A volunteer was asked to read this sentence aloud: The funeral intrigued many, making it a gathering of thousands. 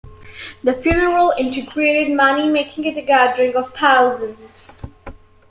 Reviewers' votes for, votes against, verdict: 2, 1, accepted